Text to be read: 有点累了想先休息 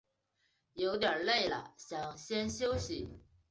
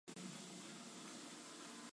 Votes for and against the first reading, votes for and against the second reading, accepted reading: 3, 0, 0, 2, first